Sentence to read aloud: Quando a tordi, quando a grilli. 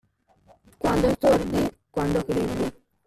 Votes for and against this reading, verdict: 1, 2, rejected